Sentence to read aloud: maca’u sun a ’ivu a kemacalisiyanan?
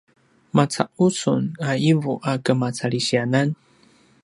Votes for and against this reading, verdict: 2, 0, accepted